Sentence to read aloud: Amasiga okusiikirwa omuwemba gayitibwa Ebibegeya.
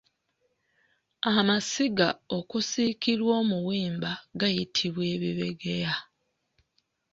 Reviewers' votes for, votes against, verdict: 2, 0, accepted